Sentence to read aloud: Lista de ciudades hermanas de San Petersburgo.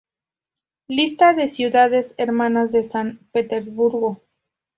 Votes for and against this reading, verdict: 2, 0, accepted